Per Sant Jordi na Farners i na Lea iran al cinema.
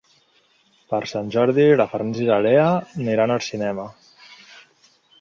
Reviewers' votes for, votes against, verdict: 0, 2, rejected